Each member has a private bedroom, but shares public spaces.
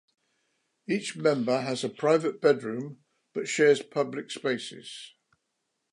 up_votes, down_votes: 2, 0